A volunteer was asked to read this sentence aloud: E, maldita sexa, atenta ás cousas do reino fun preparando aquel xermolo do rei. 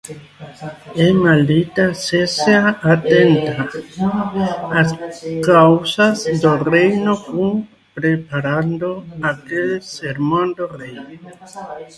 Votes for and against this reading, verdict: 0, 2, rejected